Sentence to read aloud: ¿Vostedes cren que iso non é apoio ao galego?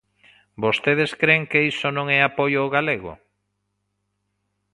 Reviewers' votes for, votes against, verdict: 2, 0, accepted